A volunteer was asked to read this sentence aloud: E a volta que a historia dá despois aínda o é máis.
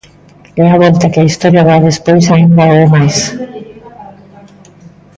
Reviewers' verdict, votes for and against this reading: rejected, 0, 2